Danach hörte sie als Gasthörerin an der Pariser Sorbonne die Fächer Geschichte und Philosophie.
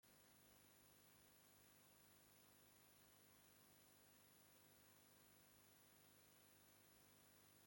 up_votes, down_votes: 0, 2